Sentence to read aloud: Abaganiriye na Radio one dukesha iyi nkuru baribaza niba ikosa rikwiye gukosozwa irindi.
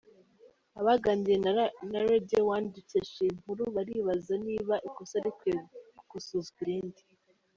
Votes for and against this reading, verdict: 1, 2, rejected